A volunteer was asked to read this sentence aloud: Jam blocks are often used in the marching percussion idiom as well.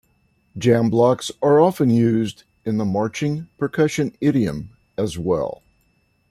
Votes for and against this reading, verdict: 2, 1, accepted